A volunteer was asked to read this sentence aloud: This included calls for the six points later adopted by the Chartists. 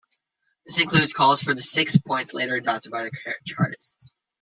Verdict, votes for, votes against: rejected, 0, 2